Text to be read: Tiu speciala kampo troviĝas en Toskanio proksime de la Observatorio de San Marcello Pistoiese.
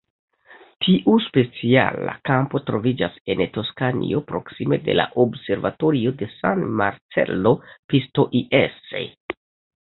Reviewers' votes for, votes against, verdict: 0, 2, rejected